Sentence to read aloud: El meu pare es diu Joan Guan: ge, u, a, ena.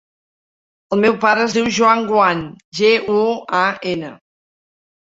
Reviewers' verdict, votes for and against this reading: accepted, 2, 0